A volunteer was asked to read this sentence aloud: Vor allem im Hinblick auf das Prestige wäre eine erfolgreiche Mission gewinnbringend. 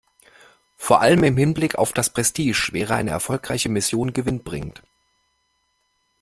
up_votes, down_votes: 2, 1